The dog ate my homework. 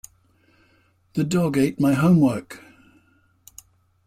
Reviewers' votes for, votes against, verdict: 2, 0, accepted